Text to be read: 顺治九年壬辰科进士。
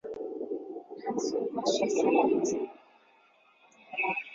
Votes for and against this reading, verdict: 0, 3, rejected